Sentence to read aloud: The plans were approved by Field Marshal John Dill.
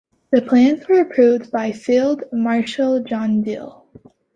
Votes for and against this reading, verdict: 2, 0, accepted